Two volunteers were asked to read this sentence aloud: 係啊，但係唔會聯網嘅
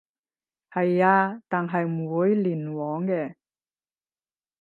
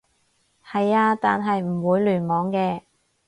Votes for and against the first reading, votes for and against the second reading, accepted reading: 0, 10, 4, 0, second